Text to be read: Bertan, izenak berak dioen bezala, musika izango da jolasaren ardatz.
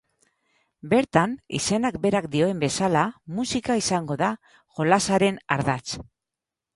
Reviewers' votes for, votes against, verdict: 6, 0, accepted